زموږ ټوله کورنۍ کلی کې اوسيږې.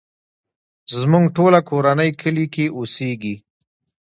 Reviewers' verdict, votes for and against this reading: accepted, 2, 1